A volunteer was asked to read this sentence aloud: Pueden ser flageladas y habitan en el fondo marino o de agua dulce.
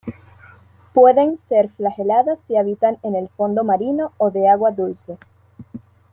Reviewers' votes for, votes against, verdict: 2, 0, accepted